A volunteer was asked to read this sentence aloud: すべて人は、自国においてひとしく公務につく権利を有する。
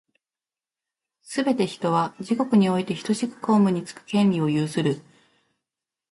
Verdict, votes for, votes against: rejected, 1, 2